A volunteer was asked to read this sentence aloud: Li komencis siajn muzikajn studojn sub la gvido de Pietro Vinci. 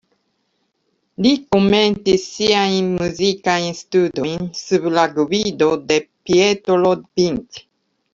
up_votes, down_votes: 2, 1